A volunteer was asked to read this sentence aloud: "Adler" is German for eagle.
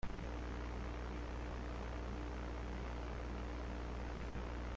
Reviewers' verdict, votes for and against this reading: rejected, 0, 2